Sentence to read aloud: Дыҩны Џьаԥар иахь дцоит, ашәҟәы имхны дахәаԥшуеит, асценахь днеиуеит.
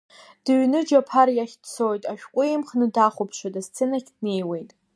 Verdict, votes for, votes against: rejected, 1, 2